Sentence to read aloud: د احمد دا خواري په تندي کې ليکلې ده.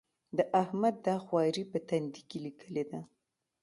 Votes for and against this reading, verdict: 2, 0, accepted